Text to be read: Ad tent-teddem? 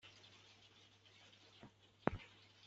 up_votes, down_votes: 1, 2